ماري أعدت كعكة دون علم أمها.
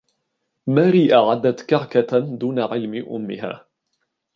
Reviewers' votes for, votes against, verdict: 2, 0, accepted